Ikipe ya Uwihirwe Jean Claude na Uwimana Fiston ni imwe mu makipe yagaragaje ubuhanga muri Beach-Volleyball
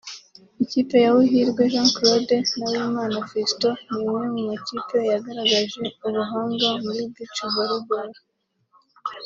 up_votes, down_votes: 2, 0